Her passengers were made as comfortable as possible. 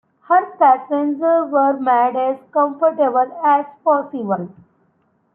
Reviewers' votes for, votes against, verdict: 0, 2, rejected